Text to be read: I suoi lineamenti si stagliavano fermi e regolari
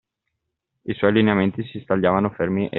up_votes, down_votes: 1, 2